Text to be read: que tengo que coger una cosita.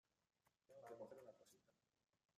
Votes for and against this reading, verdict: 0, 2, rejected